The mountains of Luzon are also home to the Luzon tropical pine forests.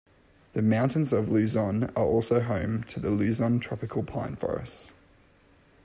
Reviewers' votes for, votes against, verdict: 2, 0, accepted